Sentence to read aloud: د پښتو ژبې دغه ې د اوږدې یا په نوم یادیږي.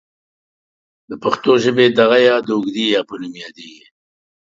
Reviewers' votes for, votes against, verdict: 2, 0, accepted